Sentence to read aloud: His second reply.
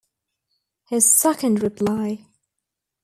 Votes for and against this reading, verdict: 2, 0, accepted